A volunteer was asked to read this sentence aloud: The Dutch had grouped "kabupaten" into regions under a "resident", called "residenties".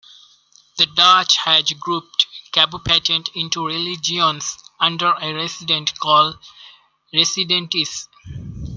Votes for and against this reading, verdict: 0, 2, rejected